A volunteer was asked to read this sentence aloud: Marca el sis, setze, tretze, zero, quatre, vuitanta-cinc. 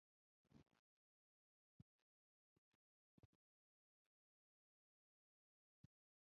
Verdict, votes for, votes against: rejected, 0, 4